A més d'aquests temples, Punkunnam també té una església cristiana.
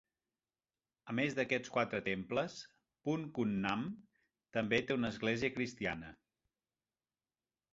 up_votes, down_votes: 0, 3